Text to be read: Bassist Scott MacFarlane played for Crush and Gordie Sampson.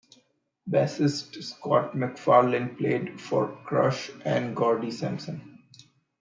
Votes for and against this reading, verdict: 2, 0, accepted